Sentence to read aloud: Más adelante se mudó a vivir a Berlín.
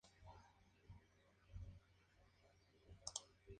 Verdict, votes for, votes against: rejected, 0, 4